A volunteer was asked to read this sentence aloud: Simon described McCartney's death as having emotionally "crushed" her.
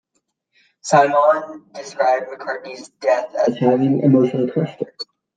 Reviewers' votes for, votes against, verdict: 0, 2, rejected